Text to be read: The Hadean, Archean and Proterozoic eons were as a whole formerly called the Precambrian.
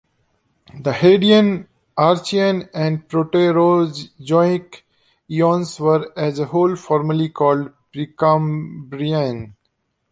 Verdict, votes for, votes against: rejected, 1, 2